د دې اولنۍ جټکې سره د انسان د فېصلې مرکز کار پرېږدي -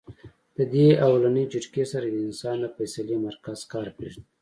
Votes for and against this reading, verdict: 2, 0, accepted